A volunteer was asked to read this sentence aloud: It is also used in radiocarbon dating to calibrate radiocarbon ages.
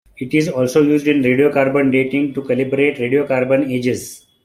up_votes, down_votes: 1, 2